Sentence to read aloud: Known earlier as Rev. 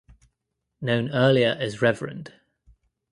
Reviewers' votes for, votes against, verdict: 1, 2, rejected